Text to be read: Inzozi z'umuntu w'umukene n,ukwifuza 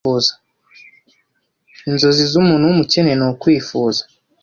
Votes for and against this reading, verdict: 1, 2, rejected